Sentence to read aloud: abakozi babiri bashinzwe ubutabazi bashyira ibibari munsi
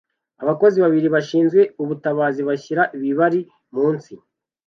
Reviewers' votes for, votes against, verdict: 2, 0, accepted